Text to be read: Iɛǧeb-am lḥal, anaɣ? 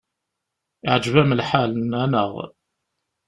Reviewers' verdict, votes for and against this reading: rejected, 1, 2